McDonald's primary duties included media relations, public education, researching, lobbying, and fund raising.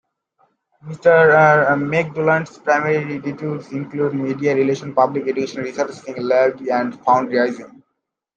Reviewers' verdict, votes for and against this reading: rejected, 0, 2